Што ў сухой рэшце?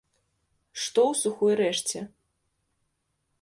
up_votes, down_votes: 2, 0